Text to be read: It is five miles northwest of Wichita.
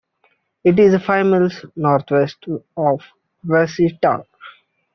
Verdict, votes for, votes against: rejected, 0, 2